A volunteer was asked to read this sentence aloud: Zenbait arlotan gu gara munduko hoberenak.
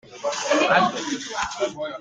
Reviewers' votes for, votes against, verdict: 0, 2, rejected